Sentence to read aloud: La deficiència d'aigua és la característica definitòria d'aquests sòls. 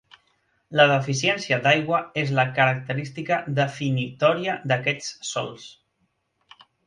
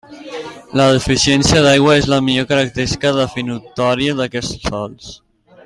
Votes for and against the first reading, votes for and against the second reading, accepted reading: 3, 0, 0, 2, first